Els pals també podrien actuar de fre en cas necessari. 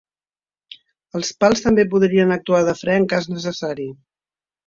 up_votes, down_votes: 3, 0